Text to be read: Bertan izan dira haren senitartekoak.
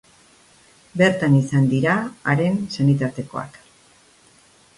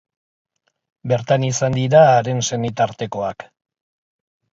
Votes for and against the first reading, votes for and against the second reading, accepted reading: 3, 0, 1, 2, first